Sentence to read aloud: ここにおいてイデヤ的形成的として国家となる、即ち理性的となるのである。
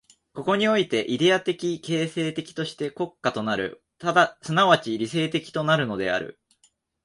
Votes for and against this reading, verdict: 2, 1, accepted